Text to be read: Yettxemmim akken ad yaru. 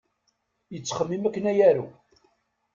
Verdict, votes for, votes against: rejected, 1, 2